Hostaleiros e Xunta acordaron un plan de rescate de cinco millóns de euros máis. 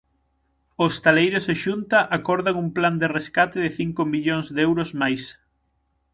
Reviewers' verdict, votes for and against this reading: rejected, 3, 6